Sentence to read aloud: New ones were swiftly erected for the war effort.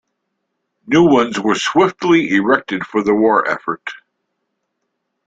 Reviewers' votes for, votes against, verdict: 2, 0, accepted